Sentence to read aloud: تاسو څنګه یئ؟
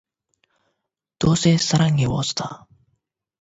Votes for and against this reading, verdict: 4, 8, rejected